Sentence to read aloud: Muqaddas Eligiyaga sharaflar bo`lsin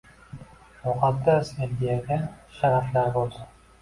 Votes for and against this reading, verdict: 2, 1, accepted